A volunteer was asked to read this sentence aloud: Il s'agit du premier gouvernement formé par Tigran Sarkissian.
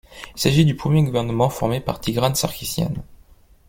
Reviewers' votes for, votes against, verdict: 2, 0, accepted